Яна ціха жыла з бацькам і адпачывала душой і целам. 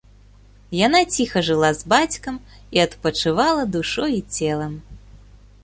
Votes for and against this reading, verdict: 2, 0, accepted